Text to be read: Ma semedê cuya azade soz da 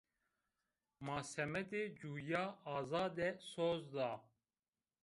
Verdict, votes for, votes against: accepted, 2, 1